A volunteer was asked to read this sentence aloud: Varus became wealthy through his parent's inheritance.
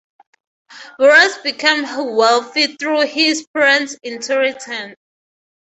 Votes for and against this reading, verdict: 0, 6, rejected